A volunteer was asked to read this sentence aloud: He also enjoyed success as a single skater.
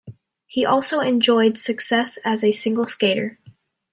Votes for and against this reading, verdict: 2, 0, accepted